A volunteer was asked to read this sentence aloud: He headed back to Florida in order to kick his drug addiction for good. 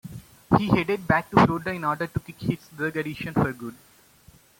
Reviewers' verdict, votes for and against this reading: accepted, 2, 1